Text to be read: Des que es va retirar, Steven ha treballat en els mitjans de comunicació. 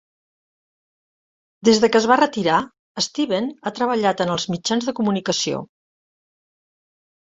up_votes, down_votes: 1, 2